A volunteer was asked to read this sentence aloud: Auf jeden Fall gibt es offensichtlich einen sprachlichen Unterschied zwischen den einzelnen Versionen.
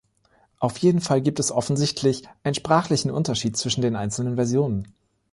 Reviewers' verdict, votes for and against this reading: rejected, 0, 2